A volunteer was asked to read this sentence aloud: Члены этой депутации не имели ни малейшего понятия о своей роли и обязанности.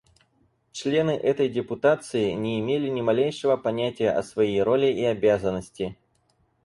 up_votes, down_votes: 4, 0